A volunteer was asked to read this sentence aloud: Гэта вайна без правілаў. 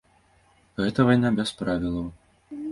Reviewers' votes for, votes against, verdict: 2, 0, accepted